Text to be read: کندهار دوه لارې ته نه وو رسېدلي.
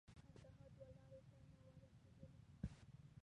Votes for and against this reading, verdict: 0, 2, rejected